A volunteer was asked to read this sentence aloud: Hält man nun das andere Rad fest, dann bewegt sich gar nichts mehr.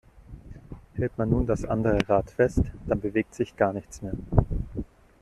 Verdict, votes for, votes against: rejected, 0, 2